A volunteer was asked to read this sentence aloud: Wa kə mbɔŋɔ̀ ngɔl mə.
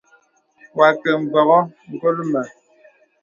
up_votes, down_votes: 2, 0